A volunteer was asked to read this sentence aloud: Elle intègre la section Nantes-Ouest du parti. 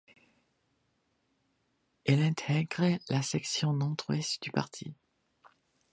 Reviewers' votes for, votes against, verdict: 2, 0, accepted